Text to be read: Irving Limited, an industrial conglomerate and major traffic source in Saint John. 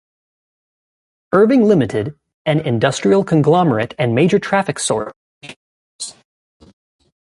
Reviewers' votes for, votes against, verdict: 0, 2, rejected